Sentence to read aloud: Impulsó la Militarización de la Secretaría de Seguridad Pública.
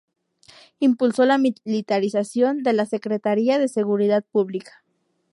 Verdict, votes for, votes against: rejected, 0, 2